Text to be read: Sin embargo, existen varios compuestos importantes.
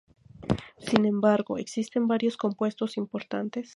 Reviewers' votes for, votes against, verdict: 2, 0, accepted